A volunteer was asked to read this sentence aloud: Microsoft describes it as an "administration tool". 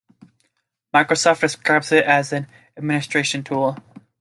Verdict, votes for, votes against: accepted, 2, 0